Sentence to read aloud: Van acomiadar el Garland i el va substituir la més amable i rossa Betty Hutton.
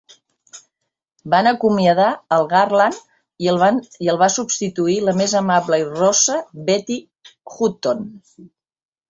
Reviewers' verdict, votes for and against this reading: rejected, 1, 2